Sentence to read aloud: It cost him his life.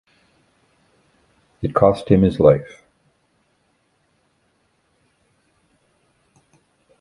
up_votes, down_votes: 2, 0